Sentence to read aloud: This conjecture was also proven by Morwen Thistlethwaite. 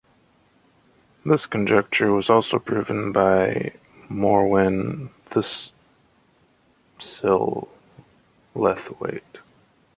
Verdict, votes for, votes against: rejected, 1, 2